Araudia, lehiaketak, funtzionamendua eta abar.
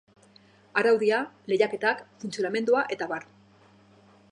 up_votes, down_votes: 3, 0